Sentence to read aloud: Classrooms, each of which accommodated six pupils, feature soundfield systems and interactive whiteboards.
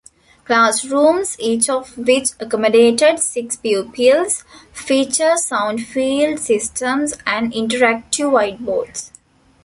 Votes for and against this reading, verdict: 1, 2, rejected